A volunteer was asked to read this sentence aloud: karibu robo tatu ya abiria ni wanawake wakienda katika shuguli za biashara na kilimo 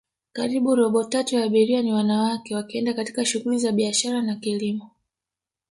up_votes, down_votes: 4, 0